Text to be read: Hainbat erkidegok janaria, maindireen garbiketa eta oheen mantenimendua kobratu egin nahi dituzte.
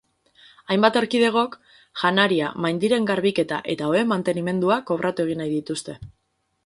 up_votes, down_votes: 4, 0